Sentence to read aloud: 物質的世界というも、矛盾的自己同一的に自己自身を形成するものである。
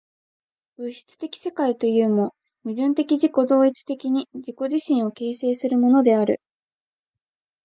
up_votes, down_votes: 6, 2